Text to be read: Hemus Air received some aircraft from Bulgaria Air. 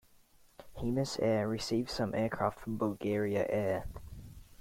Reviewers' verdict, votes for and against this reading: accepted, 2, 0